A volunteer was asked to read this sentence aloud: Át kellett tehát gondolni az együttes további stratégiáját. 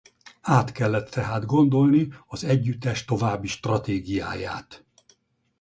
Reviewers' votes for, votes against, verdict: 0, 2, rejected